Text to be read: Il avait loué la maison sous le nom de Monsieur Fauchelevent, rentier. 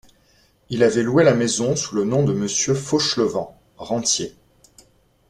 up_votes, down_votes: 2, 0